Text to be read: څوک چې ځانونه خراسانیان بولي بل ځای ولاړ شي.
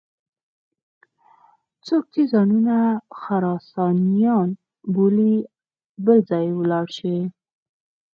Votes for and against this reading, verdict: 4, 0, accepted